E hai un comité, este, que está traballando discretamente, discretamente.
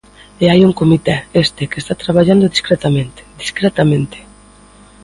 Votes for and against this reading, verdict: 2, 0, accepted